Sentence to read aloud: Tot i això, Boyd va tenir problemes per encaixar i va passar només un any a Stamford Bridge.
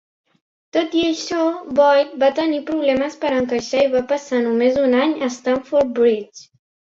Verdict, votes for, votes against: accepted, 2, 0